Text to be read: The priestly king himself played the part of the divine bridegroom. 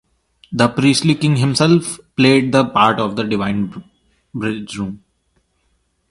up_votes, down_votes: 0, 2